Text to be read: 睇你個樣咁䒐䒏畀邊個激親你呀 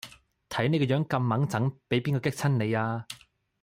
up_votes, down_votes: 2, 0